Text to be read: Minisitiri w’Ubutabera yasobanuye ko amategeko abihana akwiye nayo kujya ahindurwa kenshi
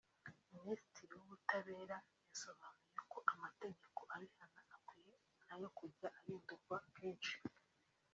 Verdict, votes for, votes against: rejected, 0, 2